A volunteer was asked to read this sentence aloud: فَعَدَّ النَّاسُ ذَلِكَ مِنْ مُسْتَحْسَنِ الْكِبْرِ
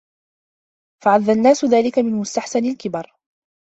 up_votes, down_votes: 1, 2